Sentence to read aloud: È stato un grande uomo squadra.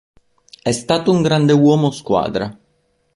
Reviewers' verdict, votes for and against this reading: accepted, 3, 0